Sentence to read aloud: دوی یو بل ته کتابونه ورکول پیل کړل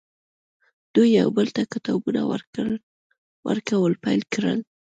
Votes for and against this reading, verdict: 1, 2, rejected